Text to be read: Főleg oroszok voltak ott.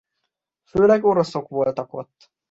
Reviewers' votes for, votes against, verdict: 2, 0, accepted